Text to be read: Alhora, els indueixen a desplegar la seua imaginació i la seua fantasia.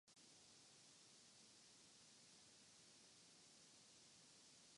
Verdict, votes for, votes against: rejected, 0, 2